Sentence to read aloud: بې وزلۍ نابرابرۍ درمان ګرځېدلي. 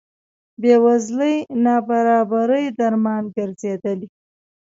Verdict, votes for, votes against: accepted, 2, 0